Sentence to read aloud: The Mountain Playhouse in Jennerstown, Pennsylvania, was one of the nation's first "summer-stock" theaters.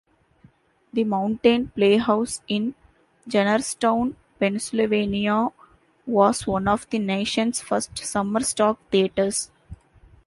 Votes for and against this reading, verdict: 2, 1, accepted